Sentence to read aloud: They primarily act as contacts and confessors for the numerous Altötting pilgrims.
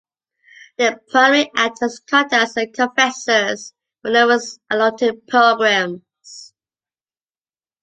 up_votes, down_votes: 2, 0